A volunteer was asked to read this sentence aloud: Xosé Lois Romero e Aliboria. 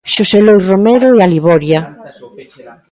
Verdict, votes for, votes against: rejected, 1, 2